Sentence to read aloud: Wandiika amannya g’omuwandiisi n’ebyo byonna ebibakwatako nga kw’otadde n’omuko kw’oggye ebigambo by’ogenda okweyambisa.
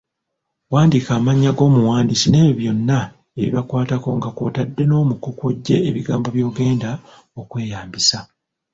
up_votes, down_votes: 1, 2